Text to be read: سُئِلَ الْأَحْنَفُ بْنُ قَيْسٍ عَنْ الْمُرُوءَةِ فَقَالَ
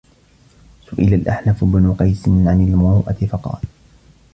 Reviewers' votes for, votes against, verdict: 1, 2, rejected